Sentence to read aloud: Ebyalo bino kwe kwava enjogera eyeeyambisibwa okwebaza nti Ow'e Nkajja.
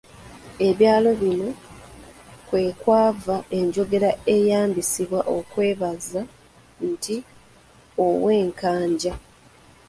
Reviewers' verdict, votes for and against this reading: rejected, 0, 2